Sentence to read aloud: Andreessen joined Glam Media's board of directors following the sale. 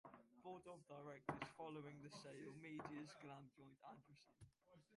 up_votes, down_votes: 0, 2